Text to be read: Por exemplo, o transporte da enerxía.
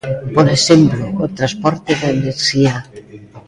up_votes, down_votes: 2, 0